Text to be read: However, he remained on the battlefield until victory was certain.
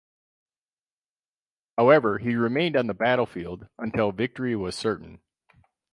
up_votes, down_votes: 2, 2